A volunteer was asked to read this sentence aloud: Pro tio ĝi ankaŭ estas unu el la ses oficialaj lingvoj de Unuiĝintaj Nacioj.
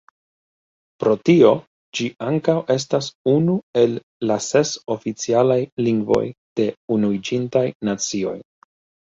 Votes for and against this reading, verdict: 1, 2, rejected